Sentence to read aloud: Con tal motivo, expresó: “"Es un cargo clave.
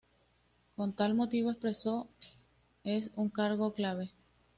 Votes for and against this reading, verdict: 2, 0, accepted